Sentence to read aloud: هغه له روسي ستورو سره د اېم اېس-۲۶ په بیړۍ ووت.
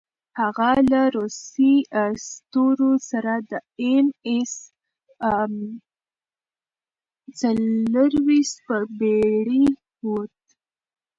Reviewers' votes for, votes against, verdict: 0, 2, rejected